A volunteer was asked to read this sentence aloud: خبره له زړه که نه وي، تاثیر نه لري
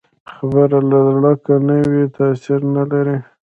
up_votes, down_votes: 2, 0